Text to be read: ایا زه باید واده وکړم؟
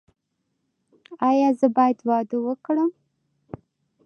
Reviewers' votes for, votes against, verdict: 2, 0, accepted